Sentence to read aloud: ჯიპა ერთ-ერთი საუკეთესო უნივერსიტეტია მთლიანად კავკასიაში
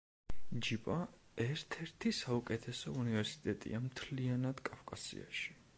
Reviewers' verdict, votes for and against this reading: accepted, 2, 0